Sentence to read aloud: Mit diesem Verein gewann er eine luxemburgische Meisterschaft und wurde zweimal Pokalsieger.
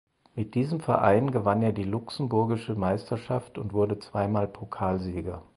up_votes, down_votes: 2, 6